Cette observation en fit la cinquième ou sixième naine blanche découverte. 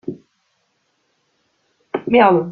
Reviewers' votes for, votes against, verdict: 0, 2, rejected